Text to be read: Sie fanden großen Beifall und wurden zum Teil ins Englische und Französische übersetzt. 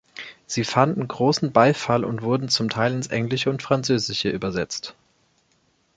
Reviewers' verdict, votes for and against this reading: accepted, 2, 0